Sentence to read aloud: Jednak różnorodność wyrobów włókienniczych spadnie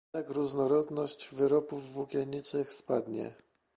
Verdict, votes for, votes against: rejected, 0, 2